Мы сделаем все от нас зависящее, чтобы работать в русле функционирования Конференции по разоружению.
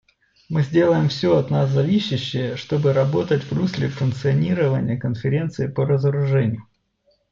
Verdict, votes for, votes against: accepted, 2, 0